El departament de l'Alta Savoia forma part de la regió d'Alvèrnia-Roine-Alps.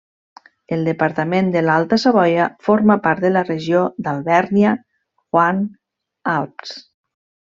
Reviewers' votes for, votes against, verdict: 0, 2, rejected